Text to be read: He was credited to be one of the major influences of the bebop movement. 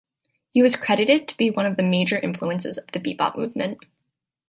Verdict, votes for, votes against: accepted, 2, 0